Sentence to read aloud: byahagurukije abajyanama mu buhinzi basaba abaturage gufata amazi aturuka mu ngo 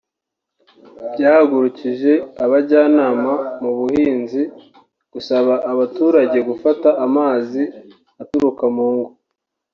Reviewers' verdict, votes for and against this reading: rejected, 0, 2